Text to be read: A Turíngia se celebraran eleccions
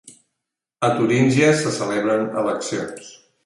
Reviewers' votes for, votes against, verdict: 1, 2, rejected